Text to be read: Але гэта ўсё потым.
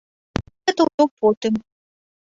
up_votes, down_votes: 0, 2